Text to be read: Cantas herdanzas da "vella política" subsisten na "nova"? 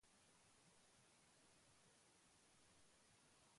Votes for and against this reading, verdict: 0, 3, rejected